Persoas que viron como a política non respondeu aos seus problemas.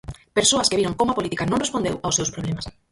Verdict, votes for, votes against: rejected, 0, 4